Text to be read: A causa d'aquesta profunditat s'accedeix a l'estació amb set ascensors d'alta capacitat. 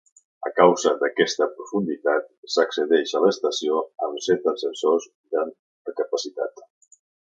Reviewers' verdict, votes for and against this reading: accepted, 2, 0